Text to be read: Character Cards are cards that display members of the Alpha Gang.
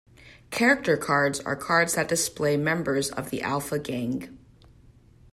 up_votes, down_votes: 2, 0